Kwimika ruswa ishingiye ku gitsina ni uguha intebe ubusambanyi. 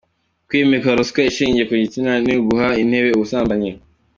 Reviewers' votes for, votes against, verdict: 2, 0, accepted